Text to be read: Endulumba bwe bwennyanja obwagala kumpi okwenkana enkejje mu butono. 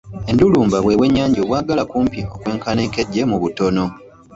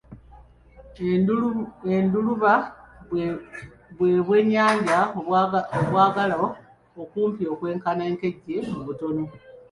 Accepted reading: first